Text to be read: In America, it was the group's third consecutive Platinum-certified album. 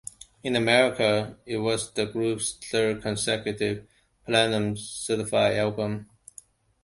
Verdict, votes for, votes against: accepted, 2, 0